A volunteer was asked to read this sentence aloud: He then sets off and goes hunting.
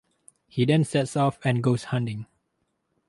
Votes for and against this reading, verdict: 2, 2, rejected